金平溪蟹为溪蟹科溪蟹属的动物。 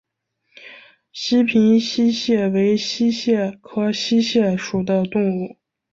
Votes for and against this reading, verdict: 1, 2, rejected